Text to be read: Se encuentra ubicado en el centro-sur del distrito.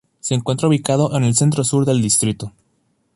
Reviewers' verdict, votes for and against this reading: accepted, 2, 0